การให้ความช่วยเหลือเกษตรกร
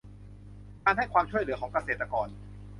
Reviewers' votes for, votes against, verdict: 0, 2, rejected